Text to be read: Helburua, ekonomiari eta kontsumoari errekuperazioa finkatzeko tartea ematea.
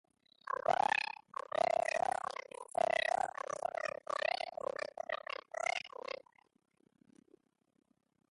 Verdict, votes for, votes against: rejected, 1, 4